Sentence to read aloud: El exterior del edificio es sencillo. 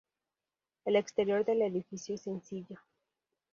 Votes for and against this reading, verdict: 2, 0, accepted